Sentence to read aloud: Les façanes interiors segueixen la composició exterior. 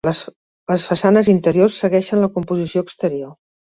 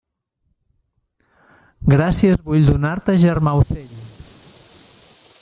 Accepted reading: first